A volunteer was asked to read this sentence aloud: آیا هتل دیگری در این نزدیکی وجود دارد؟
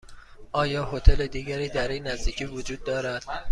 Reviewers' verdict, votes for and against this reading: accepted, 2, 0